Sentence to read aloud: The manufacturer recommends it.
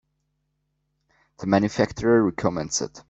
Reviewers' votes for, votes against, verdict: 2, 0, accepted